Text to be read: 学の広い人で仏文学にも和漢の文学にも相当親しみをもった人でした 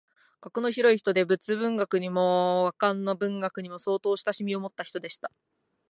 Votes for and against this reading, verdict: 3, 1, accepted